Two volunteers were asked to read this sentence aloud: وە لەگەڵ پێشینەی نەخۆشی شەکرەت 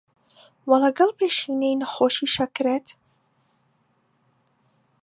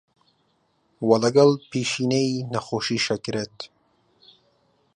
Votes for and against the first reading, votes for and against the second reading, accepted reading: 2, 1, 1, 2, first